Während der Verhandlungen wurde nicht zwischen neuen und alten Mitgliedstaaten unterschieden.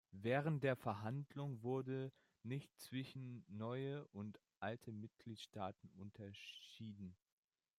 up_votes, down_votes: 0, 2